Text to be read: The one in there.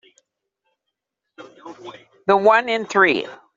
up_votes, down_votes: 0, 2